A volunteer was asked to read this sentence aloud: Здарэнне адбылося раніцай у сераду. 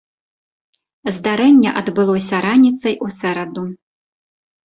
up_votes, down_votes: 0, 2